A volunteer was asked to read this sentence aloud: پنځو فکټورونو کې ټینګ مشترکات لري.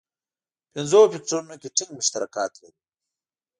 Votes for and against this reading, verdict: 2, 0, accepted